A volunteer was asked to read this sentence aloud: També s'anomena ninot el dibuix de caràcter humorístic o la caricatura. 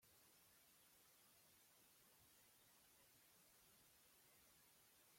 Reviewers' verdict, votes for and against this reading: rejected, 0, 2